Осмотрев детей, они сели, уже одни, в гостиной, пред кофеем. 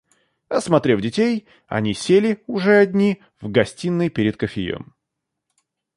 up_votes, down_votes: 1, 2